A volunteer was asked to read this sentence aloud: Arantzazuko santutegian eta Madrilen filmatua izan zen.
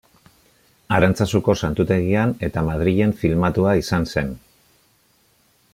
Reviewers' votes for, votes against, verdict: 2, 0, accepted